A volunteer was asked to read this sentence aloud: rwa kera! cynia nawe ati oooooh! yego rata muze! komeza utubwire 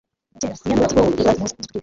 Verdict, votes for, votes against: rejected, 0, 3